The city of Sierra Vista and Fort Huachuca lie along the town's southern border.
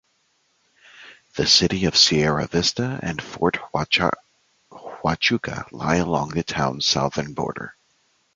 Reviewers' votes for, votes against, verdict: 1, 2, rejected